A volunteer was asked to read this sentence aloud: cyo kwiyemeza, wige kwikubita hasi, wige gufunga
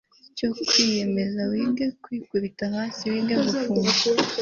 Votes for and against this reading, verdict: 2, 0, accepted